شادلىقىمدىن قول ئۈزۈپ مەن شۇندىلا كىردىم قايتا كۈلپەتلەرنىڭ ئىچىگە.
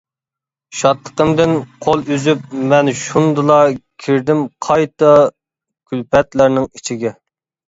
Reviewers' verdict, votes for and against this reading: accepted, 2, 0